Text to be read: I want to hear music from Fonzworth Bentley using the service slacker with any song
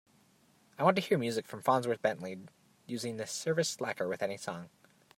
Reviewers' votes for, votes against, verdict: 1, 2, rejected